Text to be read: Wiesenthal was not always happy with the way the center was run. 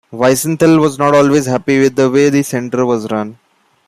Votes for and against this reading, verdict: 2, 1, accepted